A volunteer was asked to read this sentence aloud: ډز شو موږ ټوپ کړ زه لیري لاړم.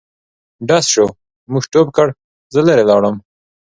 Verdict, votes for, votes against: accepted, 2, 0